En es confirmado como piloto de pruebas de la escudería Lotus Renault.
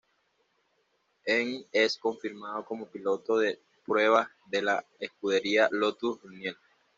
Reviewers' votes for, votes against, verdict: 1, 2, rejected